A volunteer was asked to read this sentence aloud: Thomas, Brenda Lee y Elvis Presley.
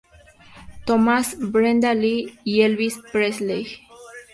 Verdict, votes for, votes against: accepted, 2, 0